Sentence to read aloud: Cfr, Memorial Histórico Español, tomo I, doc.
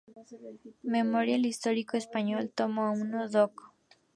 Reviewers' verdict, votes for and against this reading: rejected, 0, 4